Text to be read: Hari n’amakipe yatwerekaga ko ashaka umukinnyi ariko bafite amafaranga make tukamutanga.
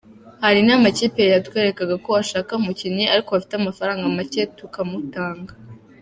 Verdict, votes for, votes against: accepted, 3, 0